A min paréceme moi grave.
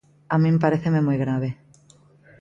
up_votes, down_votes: 2, 0